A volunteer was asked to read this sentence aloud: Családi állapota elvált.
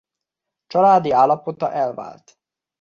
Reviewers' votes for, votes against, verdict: 2, 0, accepted